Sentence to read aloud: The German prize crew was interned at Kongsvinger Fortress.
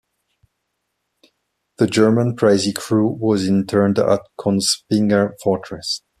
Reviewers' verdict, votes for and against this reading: rejected, 0, 2